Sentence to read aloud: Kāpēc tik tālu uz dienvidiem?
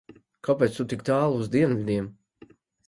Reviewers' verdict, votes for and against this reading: rejected, 1, 2